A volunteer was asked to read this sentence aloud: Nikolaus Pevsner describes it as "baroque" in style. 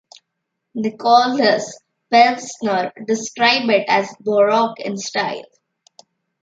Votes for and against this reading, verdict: 0, 2, rejected